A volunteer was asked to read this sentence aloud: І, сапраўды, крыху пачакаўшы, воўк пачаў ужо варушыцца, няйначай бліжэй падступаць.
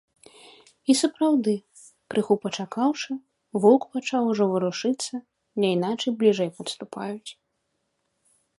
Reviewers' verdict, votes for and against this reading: rejected, 1, 2